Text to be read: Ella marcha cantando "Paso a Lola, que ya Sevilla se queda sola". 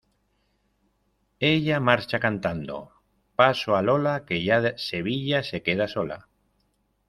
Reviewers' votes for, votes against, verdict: 1, 2, rejected